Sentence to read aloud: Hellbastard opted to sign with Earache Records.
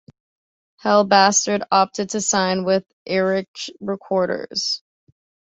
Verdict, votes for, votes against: accepted, 2, 0